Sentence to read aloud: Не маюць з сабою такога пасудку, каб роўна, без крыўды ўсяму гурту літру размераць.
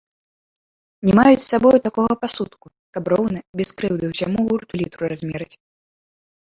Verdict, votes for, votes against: rejected, 0, 2